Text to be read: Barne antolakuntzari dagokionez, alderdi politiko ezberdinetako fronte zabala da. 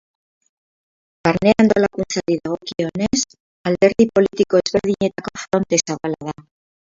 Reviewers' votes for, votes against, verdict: 0, 4, rejected